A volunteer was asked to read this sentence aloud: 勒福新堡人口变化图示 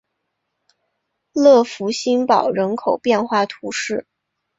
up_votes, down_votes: 9, 0